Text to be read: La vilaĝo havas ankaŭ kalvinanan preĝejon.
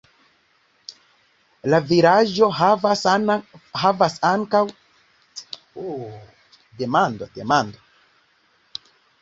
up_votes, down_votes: 0, 2